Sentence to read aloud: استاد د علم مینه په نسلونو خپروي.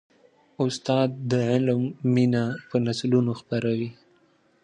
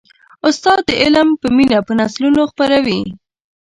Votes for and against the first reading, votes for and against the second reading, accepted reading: 2, 0, 0, 4, first